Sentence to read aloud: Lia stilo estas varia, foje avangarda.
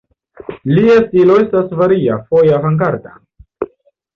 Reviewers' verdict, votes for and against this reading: rejected, 0, 2